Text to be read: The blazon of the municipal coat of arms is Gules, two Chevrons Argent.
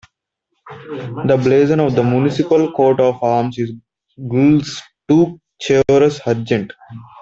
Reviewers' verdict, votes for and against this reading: rejected, 1, 2